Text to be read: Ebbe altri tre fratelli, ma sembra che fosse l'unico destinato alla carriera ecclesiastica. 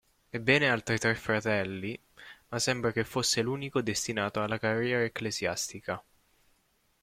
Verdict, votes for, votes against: rejected, 0, 2